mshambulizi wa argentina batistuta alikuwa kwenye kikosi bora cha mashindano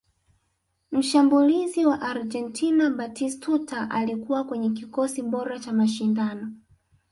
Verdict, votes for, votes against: accepted, 2, 1